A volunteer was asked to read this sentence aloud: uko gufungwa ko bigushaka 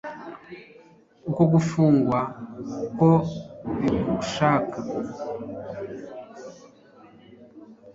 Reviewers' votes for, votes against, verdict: 1, 2, rejected